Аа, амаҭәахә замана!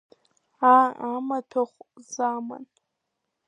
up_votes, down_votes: 0, 2